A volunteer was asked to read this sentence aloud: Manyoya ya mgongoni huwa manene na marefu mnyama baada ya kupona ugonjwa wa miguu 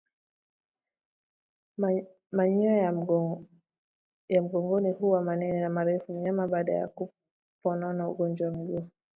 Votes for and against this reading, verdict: 1, 2, rejected